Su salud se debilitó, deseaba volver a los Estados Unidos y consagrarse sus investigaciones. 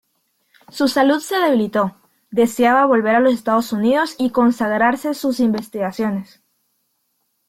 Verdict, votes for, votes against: rejected, 0, 2